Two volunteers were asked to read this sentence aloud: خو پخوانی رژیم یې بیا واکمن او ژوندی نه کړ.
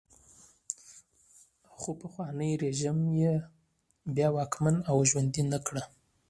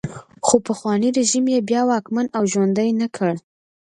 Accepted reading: second